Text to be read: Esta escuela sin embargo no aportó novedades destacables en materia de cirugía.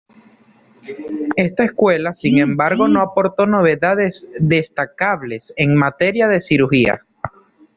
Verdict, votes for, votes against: accepted, 2, 0